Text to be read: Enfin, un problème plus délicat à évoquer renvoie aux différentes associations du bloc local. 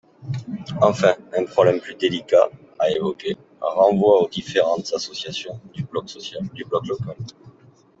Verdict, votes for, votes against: rejected, 0, 3